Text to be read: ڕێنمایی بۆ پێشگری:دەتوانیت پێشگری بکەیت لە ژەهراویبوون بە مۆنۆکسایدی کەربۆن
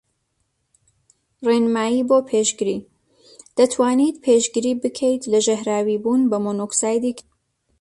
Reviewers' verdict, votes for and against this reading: rejected, 0, 2